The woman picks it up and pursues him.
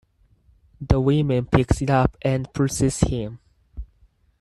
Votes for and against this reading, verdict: 2, 4, rejected